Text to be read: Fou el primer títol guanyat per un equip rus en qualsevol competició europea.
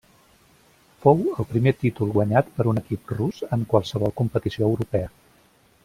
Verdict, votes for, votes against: rejected, 1, 2